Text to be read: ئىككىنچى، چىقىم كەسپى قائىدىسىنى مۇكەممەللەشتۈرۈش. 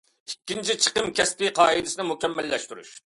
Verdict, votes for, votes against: accepted, 2, 0